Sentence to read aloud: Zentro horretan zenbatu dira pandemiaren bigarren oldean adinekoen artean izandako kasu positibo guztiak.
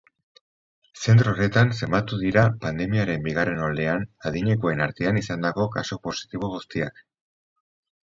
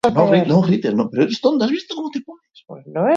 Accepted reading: first